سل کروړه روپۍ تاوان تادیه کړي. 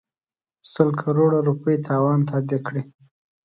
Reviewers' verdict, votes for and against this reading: accepted, 2, 0